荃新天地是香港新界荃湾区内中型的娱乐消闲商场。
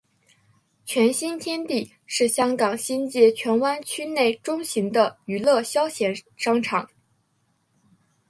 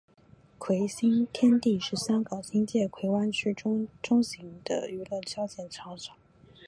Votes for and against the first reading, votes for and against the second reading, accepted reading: 4, 0, 1, 3, first